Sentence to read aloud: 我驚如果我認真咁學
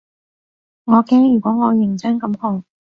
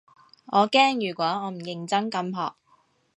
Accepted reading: first